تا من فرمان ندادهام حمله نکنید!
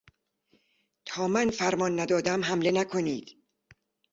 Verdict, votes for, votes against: accepted, 2, 1